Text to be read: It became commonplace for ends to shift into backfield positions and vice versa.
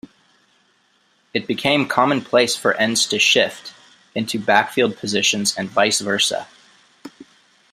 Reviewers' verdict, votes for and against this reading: accepted, 2, 0